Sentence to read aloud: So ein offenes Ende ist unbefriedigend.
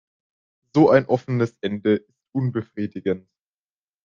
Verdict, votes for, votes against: rejected, 0, 2